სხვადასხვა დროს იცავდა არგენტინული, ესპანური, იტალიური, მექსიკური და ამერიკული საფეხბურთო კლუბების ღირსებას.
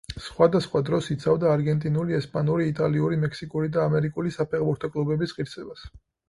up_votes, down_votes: 4, 0